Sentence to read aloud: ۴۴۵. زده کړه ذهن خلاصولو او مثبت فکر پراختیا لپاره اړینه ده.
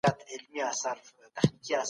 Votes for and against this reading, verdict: 0, 2, rejected